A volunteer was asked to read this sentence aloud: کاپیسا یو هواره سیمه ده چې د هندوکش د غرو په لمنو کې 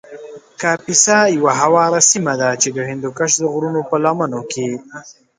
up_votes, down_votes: 0, 2